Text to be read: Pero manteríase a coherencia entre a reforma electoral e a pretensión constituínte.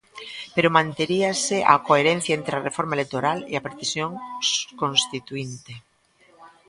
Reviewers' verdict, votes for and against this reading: rejected, 0, 2